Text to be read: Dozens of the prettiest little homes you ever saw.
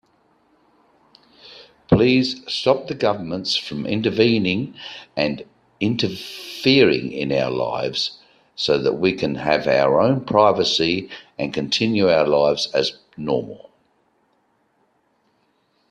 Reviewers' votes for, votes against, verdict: 0, 2, rejected